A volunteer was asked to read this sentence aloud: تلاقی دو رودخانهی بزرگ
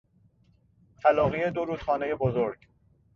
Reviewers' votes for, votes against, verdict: 2, 0, accepted